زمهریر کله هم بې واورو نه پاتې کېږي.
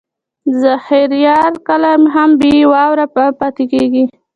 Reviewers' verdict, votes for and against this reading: rejected, 0, 2